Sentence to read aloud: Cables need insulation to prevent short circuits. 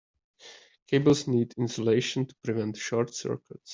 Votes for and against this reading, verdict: 2, 1, accepted